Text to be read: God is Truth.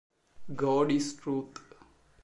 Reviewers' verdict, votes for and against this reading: rejected, 1, 2